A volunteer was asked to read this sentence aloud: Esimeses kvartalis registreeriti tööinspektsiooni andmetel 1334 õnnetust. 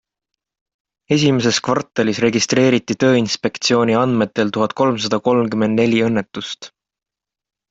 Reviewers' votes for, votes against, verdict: 0, 2, rejected